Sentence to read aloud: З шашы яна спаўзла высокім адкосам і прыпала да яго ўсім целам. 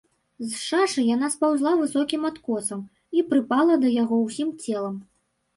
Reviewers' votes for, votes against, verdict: 1, 2, rejected